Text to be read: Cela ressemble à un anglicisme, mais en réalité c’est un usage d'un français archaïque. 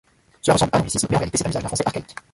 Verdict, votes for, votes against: rejected, 0, 2